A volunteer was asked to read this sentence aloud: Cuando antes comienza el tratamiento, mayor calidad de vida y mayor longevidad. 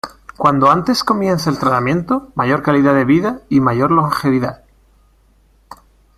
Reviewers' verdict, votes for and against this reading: rejected, 1, 2